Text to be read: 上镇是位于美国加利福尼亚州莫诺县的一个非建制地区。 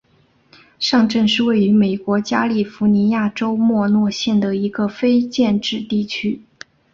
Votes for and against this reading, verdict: 2, 0, accepted